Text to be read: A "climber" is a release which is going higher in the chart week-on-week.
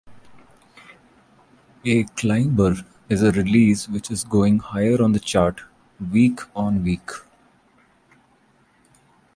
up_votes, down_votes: 1, 2